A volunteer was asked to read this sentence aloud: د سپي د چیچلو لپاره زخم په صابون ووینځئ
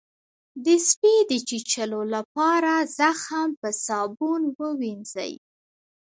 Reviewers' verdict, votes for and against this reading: accepted, 2, 0